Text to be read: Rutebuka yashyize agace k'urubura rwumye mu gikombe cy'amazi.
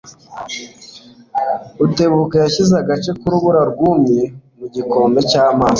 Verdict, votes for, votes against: accepted, 2, 0